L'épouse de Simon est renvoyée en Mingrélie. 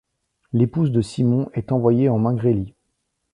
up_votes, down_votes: 0, 2